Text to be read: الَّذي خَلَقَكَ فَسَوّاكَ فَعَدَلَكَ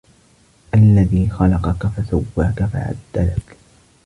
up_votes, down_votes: 2, 0